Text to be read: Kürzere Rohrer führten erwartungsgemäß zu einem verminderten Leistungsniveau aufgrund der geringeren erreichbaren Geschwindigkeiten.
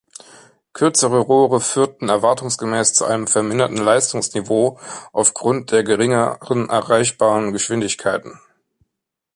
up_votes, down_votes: 1, 2